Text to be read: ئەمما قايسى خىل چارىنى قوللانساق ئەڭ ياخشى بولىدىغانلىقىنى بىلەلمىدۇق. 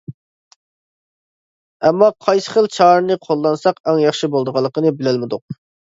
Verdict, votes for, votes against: accepted, 2, 0